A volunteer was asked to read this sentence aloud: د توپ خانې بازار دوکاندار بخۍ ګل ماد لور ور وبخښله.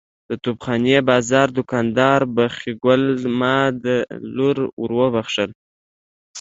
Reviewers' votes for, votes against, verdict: 2, 0, accepted